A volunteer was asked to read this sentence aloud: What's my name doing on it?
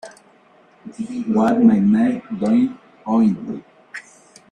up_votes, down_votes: 1, 3